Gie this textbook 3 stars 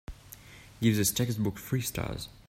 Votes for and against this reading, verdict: 0, 2, rejected